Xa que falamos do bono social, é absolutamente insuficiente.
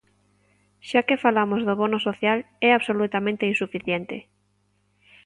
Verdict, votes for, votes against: accepted, 2, 0